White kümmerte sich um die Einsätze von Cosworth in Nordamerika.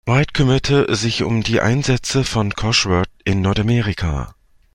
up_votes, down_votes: 2, 0